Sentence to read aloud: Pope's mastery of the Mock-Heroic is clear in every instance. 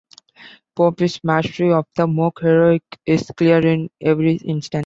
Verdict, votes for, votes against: rejected, 1, 2